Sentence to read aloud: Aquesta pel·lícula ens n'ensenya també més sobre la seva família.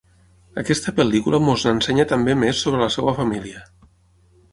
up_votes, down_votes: 3, 6